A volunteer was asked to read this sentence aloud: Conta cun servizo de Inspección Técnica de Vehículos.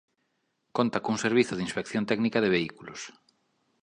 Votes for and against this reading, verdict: 2, 0, accepted